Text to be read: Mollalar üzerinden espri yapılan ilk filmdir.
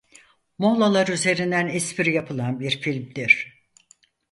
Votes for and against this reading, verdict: 2, 4, rejected